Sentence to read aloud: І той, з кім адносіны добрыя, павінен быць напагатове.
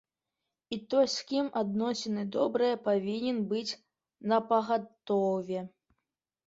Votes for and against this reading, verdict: 2, 0, accepted